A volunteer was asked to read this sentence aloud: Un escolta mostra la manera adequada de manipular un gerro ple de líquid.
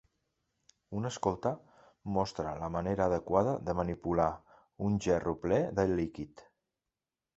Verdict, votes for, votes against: accepted, 2, 0